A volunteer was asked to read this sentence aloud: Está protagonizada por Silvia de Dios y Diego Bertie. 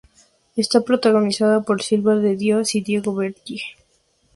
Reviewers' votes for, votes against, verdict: 2, 2, rejected